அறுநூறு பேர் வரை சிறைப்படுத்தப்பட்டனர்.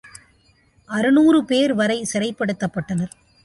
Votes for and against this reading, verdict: 2, 0, accepted